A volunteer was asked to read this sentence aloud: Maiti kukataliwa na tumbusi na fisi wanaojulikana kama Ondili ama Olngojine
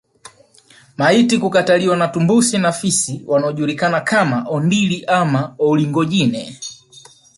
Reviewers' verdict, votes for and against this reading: rejected, 0, 2